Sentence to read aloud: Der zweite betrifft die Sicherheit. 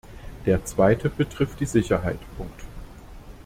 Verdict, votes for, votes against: rejected, 0, 2